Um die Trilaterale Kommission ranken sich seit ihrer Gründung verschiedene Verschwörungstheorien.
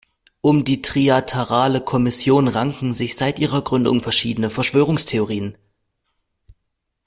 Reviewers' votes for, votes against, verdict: 1, 2, rejected